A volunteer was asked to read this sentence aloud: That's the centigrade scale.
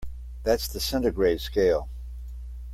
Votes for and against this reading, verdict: 2, 0, accepted